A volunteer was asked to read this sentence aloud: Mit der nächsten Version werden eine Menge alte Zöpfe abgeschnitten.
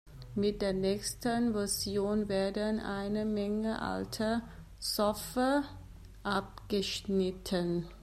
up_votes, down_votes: 0, 2